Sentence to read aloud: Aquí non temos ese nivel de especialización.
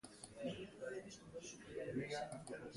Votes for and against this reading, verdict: 0, 2, rejected